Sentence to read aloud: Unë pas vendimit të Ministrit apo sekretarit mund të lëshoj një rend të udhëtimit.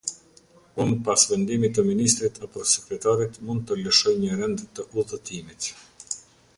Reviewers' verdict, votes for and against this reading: accepted, 2, 0